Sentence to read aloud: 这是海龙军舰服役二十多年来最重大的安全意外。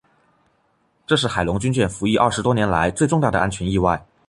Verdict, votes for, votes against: accepted, 2, 0